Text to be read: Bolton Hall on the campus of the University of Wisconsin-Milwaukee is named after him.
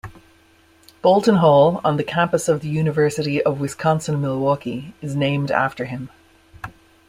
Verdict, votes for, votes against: accepted, 2, 1